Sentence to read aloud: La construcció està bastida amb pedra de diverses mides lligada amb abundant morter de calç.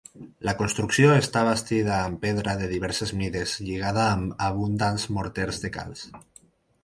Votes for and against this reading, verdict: 2, 4, rejected